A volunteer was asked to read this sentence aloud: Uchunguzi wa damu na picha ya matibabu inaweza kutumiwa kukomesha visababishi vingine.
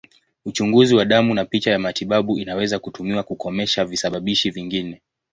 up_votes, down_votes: 2, 0